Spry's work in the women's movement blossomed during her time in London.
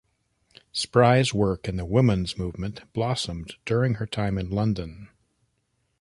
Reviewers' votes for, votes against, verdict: 2, 0, accepted